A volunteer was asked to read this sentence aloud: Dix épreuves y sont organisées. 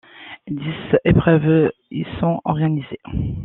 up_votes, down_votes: 2, 0